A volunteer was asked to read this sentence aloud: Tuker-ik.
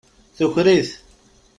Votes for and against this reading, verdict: 1, 2, rejected